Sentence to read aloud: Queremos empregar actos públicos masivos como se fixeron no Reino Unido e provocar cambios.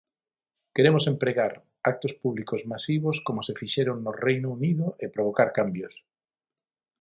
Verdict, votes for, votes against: accepted, 6, 0